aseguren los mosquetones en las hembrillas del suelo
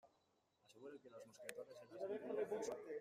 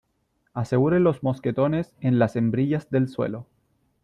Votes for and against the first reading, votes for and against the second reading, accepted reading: 0, 2, 2, 0, second